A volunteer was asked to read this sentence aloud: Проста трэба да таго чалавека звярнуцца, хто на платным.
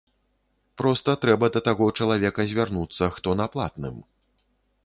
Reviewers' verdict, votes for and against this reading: accepted, 3, 0